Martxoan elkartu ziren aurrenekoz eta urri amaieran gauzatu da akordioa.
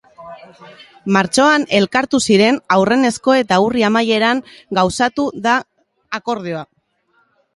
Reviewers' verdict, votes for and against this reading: rejected, 1, 2